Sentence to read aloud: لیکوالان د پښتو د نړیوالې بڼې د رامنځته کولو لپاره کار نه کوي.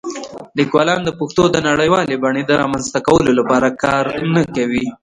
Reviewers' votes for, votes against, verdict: 3, 1, accepted